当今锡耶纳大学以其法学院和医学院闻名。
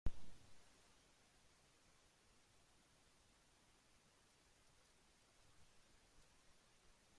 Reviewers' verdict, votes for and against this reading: rejected, 0, 2